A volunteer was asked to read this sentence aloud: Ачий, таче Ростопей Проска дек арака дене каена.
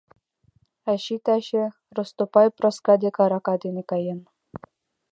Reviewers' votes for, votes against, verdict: 2, 1, accepted